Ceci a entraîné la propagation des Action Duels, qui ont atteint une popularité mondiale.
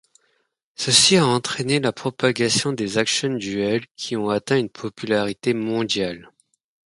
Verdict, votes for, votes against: accepted, 2, 0